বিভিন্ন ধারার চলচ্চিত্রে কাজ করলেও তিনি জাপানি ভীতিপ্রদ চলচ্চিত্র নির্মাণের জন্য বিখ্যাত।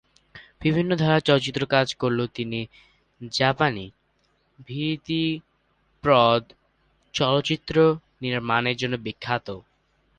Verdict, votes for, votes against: rejected, 1, 2